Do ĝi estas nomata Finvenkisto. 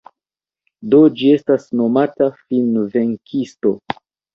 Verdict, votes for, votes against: rejected, 1, 2